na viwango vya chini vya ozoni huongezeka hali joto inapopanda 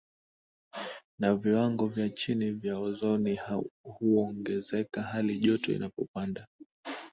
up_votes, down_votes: 2, 0